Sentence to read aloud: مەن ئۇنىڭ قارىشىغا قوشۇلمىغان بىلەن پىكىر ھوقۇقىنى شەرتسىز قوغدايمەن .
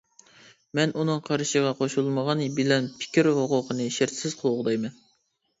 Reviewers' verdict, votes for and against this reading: accepted, 2, 0